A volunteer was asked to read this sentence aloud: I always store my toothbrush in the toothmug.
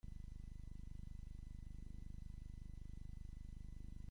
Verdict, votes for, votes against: rejected, 0, 2